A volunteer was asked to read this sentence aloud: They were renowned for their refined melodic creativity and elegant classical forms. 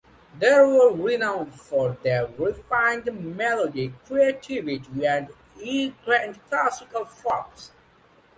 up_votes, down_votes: 0, 2